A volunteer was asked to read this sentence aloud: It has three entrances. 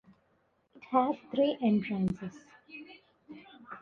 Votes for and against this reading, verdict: 2, 0, accepted